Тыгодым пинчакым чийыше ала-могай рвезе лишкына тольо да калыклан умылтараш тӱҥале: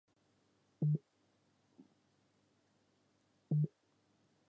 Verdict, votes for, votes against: rejected, 0, 2